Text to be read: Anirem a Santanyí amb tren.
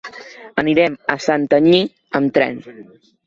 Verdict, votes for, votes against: accepted, 2, 0